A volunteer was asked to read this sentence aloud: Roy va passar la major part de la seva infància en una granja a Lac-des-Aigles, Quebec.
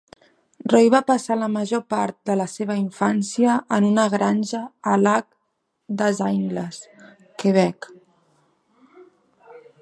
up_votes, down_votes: 1, 2